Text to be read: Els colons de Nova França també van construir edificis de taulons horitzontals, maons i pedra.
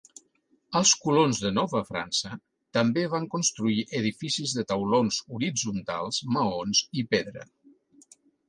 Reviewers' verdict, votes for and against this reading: accepted, 5, 0